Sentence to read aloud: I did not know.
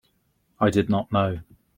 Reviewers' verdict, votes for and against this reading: accepted, 2, 0